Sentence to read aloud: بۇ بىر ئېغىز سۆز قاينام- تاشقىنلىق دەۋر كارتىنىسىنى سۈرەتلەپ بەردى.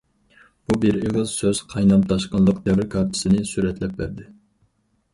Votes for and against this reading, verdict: 2, 2, rejected